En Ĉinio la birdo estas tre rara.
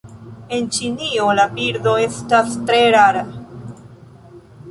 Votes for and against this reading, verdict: 2, 0, accepted